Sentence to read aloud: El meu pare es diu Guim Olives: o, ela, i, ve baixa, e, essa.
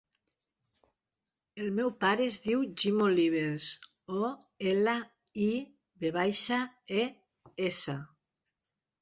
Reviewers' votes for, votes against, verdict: 0, 2, rejected